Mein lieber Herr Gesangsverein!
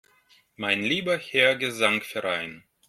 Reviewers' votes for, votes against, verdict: 1, 2, rejected